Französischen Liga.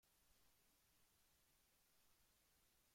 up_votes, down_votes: 0, 2